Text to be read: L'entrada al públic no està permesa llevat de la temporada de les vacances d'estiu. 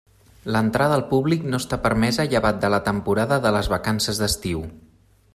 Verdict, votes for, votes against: accepted, 3, 0